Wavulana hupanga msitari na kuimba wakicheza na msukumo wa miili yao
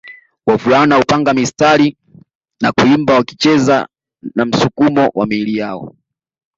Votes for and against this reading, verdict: 2, 0, accepted